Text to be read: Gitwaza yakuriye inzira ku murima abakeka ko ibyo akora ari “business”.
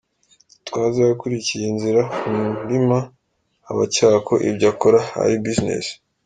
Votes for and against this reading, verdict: 2, 0, accepted